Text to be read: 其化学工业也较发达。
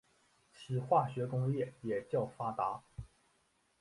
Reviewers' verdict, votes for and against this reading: accepted, 2, 0